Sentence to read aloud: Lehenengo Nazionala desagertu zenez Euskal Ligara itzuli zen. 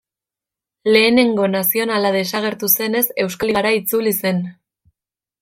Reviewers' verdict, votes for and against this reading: rejected, 1, 2